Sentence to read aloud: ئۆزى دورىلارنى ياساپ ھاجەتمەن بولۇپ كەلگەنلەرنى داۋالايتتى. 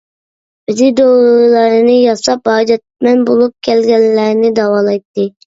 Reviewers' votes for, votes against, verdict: 0, 2, rejected